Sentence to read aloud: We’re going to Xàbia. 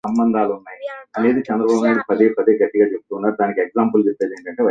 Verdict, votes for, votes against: rejected, 0, 2